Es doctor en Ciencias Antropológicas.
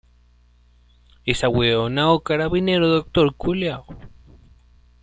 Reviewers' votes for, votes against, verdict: 0, 2, rejected